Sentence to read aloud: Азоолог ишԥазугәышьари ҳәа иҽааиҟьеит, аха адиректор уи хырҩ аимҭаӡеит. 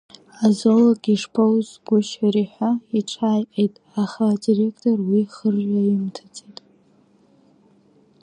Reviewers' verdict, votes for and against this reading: rejected, 1, 2